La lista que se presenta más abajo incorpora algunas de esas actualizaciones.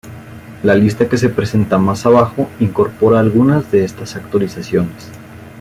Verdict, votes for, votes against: rejected, 0, 2